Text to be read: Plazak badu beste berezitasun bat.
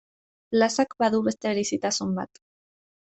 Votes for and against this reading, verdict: 2, 0, accepted